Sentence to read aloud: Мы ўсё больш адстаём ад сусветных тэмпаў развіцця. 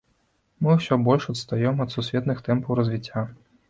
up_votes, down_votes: 2, 0